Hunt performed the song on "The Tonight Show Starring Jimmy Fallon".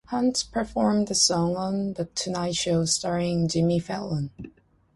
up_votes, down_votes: 2, 0